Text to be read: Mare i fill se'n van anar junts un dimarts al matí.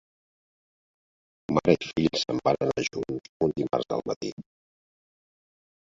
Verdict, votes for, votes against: rejected, 1, 5